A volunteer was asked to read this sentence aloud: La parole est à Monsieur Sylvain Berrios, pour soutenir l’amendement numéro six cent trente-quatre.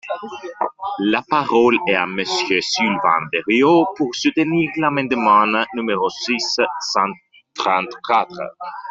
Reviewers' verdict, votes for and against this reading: rejected, 1, 2